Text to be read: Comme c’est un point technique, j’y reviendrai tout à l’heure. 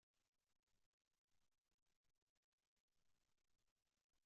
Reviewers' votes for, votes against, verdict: 0, 2, rejected